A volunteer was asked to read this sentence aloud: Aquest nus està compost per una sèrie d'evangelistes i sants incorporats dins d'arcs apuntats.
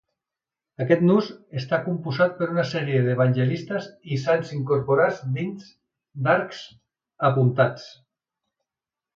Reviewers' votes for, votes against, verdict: 1, 2, rejected